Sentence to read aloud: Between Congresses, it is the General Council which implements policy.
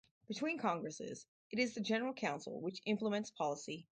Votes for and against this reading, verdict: 2, 2, rejected